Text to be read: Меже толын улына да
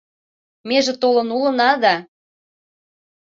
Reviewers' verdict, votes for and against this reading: accepted, 3, 0